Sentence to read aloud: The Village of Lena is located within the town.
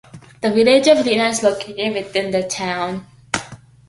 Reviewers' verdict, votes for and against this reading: accepted, 2, 0